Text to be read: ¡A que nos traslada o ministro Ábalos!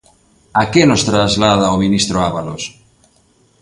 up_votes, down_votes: 2, 0